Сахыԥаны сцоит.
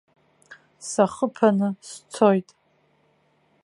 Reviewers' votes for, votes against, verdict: 2, 0, accepted